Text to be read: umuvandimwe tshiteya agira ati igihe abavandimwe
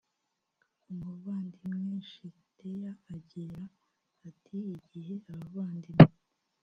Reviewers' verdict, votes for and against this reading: rejected, 1, 2